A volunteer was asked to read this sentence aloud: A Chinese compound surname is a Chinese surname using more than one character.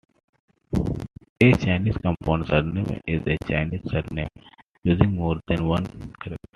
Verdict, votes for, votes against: accepted, 2, 1